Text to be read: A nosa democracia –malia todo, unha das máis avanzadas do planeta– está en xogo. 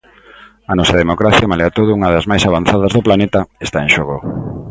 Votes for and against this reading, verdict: 2, 0, accepted